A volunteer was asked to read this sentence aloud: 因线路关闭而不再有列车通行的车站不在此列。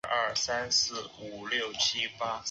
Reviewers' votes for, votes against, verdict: 0, 2, rejected